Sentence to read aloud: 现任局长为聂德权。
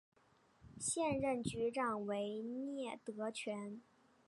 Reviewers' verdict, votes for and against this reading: rejected, 0, 2